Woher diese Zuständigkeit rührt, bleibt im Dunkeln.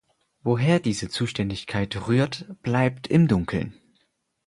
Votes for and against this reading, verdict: 4, 0, accepted